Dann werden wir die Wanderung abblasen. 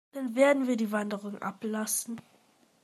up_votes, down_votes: 2, 0